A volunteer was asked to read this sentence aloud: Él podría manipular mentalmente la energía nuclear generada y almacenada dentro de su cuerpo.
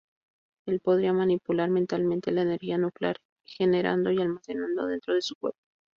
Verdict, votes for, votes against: rejected, 0, 2